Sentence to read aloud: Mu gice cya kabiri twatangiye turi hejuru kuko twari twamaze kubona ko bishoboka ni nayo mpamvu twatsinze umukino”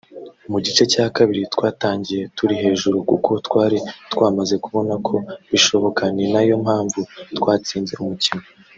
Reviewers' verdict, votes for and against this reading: rejected, 1, 2